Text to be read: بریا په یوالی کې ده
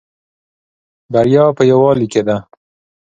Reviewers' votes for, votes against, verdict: 2, 1, accepted